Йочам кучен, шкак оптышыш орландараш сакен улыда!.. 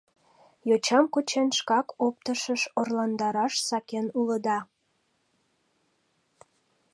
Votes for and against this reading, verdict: 2, 0, accepted